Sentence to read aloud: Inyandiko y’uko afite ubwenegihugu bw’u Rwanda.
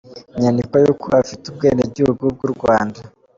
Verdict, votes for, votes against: accepted, 2, 0